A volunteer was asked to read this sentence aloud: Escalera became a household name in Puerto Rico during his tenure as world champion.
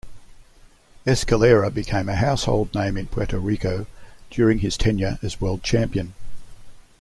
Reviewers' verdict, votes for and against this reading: accepted, 2, 0